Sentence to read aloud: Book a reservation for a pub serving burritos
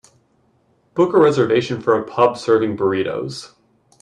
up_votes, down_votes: 2, 0